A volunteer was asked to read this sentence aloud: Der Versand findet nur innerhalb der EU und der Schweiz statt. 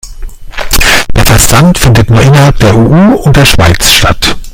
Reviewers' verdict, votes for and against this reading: rejected, 0, 2